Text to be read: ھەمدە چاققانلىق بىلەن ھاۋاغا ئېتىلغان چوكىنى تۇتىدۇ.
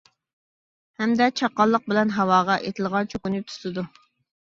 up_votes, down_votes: 2, 0